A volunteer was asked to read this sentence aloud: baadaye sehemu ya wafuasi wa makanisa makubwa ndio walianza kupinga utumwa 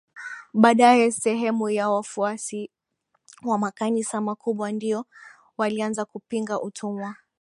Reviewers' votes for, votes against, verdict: 3, 0, accepted